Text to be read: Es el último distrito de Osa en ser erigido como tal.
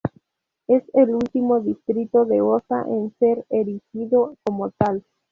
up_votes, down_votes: 0, 2